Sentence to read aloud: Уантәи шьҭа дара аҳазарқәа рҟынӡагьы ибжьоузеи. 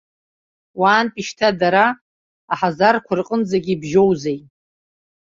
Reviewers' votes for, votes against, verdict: 0, 2, rejected